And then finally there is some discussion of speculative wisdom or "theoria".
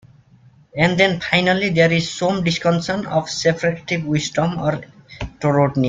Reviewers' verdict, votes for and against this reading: rejected, 0, 2